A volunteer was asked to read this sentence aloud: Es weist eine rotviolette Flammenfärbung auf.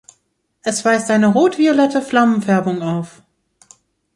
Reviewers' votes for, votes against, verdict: 2, 0, accepted